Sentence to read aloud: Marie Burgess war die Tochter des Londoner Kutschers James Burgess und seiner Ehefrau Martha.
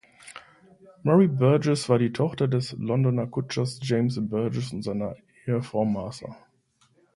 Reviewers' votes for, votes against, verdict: 2, 0, accepted